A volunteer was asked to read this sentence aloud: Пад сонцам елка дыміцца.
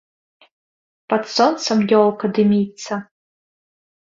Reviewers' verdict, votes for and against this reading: rejected, 0, 2